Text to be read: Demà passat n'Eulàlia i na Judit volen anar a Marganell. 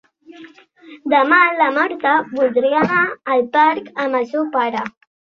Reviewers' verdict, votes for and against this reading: rejected, 0, 2